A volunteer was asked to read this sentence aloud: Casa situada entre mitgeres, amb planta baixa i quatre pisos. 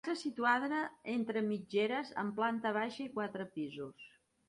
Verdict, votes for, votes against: rejected, 0, 2